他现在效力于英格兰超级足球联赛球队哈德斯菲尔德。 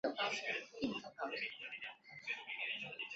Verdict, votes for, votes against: rejected, 1, 2